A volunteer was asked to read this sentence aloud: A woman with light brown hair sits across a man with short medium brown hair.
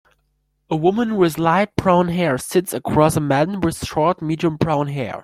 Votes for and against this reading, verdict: 2, 0, accepted